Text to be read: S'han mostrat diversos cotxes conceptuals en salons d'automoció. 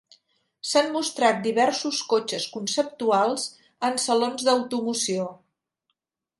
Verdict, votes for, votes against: accepted, 4, 0